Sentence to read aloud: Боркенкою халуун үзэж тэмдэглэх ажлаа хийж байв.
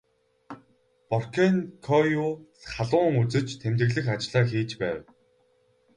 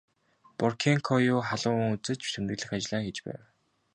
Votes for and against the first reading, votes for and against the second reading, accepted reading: 0, 2, 2, 0, second